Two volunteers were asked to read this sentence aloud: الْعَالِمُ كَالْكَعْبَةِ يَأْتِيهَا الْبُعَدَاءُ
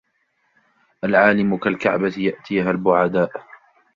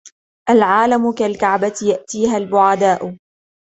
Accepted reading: second